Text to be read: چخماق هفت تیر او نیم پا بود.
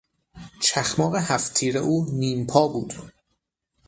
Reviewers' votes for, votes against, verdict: 6, 0, accepted